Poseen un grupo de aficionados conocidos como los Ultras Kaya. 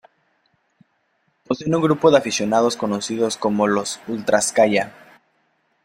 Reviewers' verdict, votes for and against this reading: accepted, 2, 0